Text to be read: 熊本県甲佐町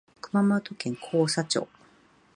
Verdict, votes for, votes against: accepted, 2, 1